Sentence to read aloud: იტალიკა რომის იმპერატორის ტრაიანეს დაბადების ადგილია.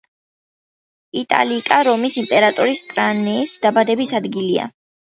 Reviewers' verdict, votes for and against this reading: rejected, 0, 2